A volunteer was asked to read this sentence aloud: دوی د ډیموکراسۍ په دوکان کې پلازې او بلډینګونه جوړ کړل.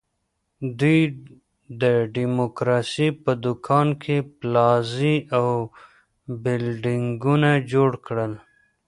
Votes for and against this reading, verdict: 2, 0, accepted